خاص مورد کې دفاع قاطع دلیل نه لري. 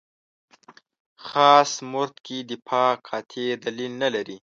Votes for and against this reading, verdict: 1, 2, rejected